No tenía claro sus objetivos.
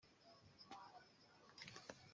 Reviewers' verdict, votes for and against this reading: rejected, 0, 2